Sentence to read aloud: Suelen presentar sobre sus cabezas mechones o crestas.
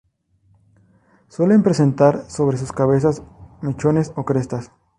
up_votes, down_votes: 2, 0